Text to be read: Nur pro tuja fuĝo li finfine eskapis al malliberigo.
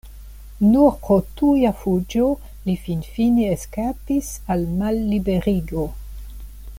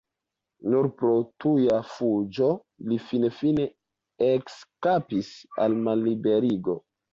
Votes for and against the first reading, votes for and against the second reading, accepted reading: 2, 0, 1, 2, first